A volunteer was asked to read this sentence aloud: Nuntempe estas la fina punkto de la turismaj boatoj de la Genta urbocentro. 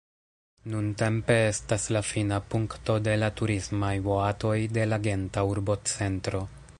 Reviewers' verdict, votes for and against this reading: rejected, 1, 2